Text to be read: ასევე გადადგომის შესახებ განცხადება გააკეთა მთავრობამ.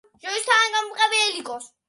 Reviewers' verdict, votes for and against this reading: rejected, 0, 2